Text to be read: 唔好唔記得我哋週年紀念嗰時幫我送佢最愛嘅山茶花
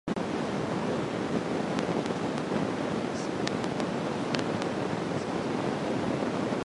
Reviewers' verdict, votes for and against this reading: rejected, 0, 2